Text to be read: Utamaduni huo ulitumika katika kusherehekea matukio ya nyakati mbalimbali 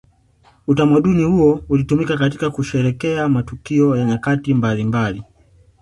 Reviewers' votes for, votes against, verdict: 2, 0, accepted